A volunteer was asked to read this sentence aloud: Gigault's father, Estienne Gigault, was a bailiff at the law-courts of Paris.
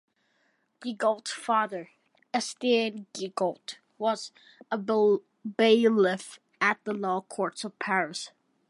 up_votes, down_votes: 0, 2